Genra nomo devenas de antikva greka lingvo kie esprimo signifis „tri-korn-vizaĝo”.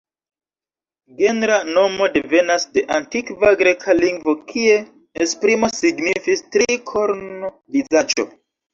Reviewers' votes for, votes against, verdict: 0, 2, rejected